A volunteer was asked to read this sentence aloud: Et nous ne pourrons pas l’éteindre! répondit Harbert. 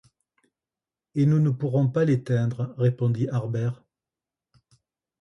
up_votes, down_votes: 2, 0